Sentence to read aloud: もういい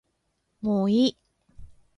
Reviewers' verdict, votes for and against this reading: accepted, 2, 0